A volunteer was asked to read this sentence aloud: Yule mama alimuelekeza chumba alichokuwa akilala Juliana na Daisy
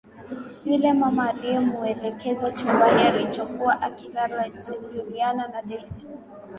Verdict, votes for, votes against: rejected, 1, 2